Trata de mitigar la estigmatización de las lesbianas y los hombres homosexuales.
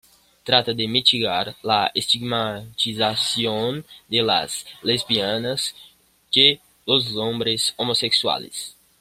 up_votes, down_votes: 1, 2